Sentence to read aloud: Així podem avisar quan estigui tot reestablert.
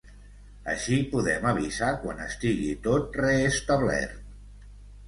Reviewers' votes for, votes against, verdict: 2, 0, accepted